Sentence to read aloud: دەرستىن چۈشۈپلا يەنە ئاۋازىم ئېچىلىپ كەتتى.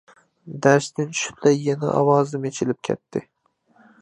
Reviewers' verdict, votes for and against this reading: accepted, 2, 0